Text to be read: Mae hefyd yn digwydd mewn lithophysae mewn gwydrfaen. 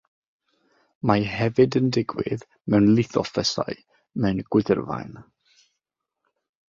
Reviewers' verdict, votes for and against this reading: rejected, 3, 3